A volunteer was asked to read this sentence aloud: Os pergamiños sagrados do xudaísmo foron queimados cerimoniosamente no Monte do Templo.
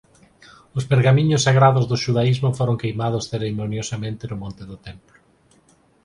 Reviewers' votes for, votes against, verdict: 6, 0, accepted